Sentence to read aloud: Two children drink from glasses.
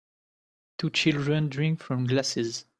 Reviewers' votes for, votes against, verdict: 2, 0, accepted